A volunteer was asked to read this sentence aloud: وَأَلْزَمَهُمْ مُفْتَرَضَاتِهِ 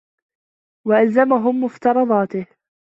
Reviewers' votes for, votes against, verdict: 2, 0, accepted